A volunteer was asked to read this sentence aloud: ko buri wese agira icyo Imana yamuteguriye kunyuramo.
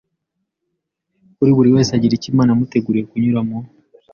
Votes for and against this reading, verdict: 2, 0, accepted